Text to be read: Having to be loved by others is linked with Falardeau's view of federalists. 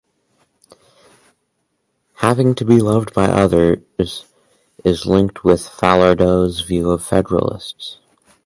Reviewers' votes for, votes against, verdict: 2, 2, rejected